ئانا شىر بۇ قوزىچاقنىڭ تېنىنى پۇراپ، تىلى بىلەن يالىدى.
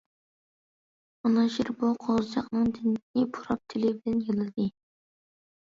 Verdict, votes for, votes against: rejected, 1, 2